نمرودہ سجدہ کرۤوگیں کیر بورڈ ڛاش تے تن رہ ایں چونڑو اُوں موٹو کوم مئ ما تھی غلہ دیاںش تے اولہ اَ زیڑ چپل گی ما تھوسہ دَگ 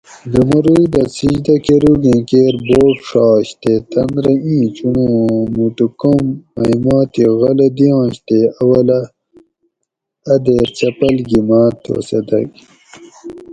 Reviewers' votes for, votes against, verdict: 2, 2, rejected